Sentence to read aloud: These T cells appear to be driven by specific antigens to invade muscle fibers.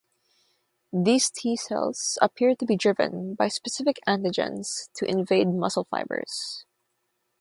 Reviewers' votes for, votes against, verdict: 6, 0, accepted